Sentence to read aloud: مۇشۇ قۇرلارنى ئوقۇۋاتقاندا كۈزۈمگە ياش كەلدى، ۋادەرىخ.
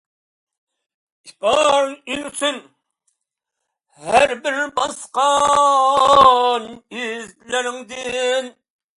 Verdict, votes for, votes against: rejected, 0, 2